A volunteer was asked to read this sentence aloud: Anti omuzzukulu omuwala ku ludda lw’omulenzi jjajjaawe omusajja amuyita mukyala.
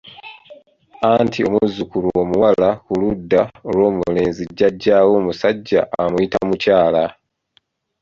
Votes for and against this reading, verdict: 2, 0, accepted